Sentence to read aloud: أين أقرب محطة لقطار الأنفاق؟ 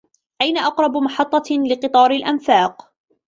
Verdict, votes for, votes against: accepted, 2, 0